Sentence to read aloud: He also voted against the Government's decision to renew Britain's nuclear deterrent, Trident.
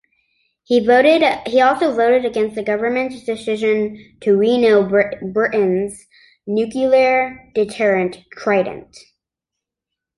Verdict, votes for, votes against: rejected, 0, 2